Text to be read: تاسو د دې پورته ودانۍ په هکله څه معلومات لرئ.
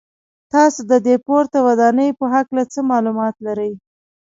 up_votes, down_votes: 2, 0